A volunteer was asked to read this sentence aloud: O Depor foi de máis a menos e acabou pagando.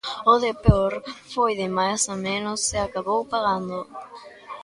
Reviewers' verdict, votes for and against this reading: rejected, 0, 2